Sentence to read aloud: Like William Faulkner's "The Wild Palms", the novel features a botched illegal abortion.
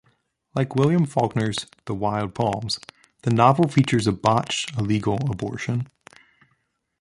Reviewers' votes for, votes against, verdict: 1, 2, rejected